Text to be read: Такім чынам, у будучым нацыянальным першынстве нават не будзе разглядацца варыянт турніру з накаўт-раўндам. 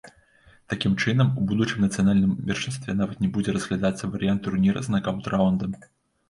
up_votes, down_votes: 0, 2